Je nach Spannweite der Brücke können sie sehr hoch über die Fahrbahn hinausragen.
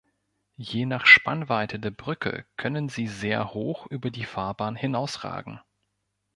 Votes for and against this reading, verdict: 2, 0, accepted